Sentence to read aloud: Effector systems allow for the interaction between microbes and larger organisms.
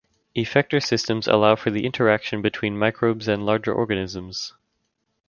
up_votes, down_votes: 3, 0